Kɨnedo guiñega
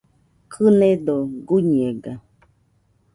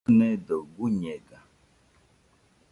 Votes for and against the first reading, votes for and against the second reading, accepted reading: 2, 0, 1, 2, first